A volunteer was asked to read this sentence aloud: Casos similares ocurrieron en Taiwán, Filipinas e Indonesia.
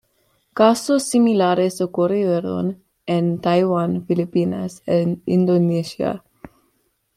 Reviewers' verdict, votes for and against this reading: accepted, 2, 1